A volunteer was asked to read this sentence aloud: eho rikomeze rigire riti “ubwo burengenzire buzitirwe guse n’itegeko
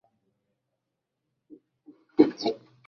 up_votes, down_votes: 1, 2